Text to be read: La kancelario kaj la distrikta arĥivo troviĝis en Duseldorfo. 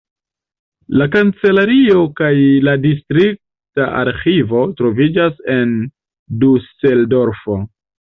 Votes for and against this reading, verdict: 1, 2, rejected